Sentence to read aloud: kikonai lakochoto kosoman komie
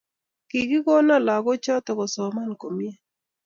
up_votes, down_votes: 1, 2